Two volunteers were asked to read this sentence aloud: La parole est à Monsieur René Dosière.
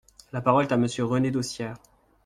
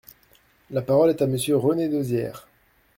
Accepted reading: second